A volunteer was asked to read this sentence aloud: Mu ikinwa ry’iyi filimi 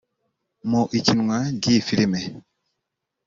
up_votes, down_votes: 0, 2